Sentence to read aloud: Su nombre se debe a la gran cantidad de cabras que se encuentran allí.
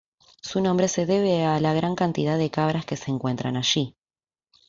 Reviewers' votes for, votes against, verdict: 2, 0, accepted